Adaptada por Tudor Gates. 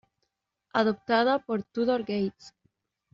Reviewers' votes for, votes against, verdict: 2, 1, accepted